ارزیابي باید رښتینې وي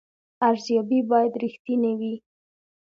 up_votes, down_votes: 2, 0